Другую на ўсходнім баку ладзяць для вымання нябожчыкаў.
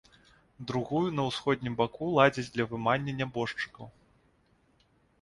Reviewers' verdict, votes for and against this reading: accepted, 2, 0